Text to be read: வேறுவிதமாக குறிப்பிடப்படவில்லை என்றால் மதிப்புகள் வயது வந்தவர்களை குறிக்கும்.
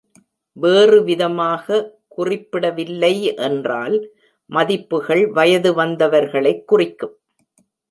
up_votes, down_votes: 1, 2